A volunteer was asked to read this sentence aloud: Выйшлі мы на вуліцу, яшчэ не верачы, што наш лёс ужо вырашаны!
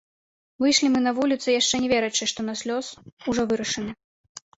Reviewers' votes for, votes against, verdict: 0, 2, rejected